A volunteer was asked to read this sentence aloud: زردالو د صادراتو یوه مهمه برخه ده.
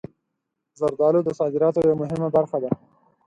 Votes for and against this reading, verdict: 4, 0, accepted